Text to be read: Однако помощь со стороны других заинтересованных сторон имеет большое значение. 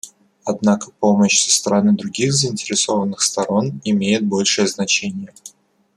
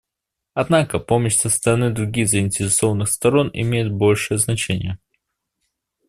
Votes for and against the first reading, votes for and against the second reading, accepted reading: 1, 2, 2, 0, second